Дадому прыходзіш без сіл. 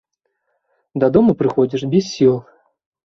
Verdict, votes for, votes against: accepted, 2, 0